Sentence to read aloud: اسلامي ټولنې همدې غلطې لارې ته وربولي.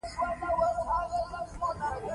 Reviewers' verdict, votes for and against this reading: rejected, 1, 2